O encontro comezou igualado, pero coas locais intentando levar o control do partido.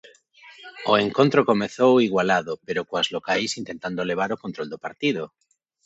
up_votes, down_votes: 0, 2